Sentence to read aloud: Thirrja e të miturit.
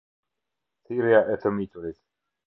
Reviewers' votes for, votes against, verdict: 2, 0, accepted